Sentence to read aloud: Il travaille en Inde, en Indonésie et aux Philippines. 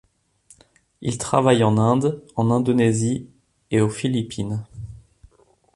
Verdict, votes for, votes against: rejected, 1, 2